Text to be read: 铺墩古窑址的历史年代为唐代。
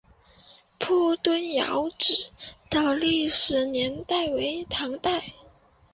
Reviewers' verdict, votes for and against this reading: rejected, 1, 4